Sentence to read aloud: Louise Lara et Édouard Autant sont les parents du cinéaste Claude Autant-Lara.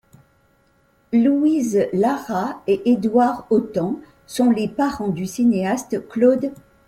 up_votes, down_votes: 0, 2